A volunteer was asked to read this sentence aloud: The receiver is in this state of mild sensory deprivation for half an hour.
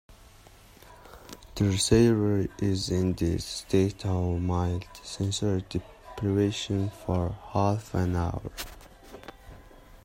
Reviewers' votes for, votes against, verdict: 1, 2, rejected